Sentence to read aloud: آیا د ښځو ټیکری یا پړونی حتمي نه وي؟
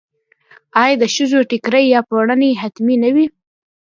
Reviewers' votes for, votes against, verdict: 1, 2, rejected